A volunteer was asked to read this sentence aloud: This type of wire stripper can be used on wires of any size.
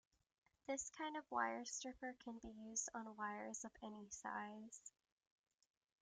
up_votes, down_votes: 0, 2